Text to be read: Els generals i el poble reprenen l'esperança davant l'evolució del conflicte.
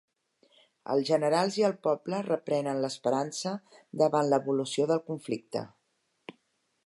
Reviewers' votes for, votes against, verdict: 2, 0, accepted